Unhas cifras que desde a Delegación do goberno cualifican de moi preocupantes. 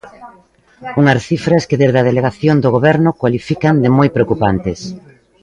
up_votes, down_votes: 2, 0